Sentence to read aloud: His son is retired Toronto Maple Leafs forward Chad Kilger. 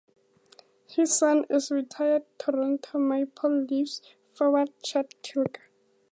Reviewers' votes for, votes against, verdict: 0, 2, rejected